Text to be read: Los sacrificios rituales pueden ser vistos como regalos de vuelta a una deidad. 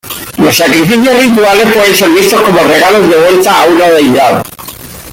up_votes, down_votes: 0, 4